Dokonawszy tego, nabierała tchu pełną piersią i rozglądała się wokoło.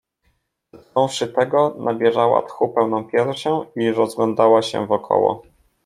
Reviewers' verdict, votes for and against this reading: rejected, 1, 2